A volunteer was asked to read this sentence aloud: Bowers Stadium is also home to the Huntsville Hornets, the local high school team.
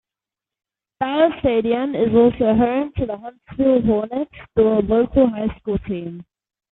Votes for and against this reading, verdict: 0, 2, rejected